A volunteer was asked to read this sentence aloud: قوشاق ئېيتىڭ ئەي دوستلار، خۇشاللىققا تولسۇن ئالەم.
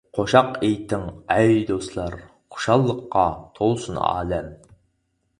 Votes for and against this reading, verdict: 4, 0, accepted